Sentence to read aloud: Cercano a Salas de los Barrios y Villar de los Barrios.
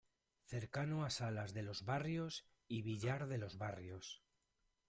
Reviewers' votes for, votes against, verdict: 0, 2, rejected